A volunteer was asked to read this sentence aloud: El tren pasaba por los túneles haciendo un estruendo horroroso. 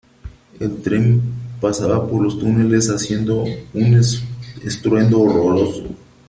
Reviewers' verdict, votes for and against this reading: rejected, 0, 3